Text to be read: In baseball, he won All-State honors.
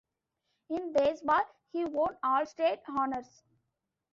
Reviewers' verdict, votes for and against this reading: accepted, 2, 0